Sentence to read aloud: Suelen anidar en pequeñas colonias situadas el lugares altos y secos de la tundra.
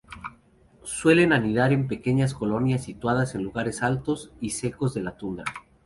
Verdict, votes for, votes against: rejected, 0, 2